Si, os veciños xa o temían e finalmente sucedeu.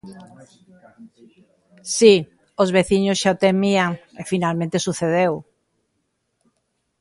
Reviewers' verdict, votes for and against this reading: accepted, 2, 0